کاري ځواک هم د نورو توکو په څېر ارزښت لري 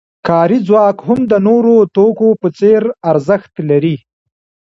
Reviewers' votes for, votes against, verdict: 2, 1, accepted